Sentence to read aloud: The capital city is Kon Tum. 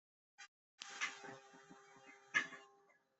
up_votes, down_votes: 0, 2